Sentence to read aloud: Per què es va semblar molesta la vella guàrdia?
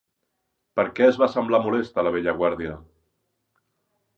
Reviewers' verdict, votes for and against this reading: accepted, 4, 0